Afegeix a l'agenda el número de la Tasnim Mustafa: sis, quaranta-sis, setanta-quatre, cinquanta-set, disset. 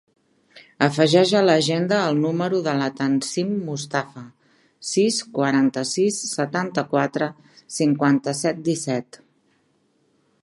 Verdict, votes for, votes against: rejected, 1, 2